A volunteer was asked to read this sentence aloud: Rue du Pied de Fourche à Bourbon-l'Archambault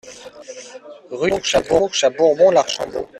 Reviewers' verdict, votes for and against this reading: rejected, 0, 2